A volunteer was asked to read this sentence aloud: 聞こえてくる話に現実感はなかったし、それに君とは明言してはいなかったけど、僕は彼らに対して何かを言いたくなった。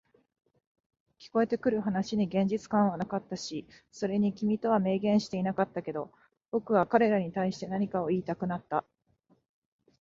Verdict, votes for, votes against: accepted, 4, 0